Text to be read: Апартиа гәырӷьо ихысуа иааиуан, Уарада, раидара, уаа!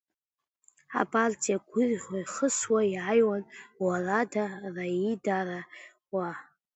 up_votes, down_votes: 0, 2